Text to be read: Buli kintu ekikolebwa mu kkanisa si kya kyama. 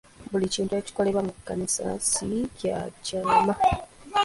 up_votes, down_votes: 1, 2